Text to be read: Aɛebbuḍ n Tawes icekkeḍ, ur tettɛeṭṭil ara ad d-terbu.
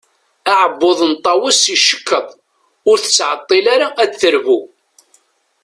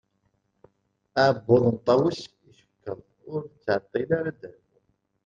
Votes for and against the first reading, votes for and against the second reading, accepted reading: 2, 0, 1, 2, first